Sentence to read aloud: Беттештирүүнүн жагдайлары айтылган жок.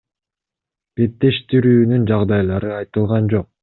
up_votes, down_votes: 2, 0